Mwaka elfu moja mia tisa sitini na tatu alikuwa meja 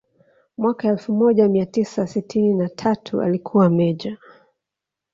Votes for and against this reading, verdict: 2, 0, accepted